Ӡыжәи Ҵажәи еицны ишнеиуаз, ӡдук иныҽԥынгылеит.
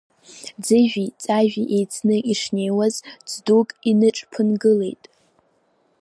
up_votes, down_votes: 11, 3